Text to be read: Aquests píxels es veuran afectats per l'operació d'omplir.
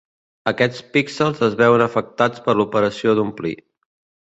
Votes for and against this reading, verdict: 1, 2, rejected